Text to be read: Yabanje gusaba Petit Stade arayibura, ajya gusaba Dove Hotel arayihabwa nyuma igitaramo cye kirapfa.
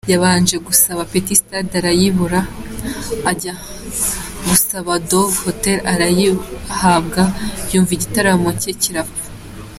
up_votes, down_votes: 2, 1